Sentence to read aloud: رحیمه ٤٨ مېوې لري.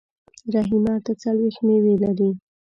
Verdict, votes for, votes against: rejected, 0, 2